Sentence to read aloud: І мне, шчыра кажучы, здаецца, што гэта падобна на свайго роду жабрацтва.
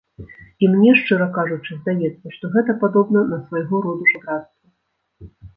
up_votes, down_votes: 0, 2